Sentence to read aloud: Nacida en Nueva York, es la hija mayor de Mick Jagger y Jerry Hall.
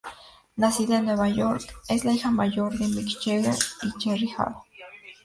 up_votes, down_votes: 2, 0